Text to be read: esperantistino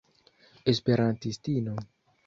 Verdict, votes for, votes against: accepted, 2, 0